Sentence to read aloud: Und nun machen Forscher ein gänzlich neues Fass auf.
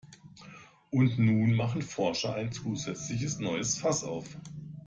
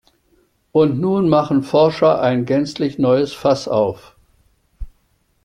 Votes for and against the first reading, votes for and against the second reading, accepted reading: 0, 2, 2, 0, second